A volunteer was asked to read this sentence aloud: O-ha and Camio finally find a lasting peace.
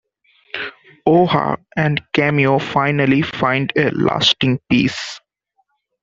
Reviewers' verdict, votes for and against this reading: accepted, 2, 0